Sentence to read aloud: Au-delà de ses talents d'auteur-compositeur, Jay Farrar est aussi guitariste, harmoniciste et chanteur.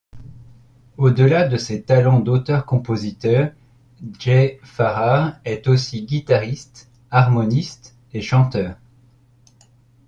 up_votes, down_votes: 0, 2